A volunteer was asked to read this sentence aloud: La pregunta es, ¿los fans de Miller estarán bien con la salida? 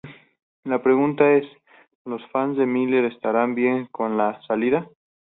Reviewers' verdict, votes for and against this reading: accepted, 4, 0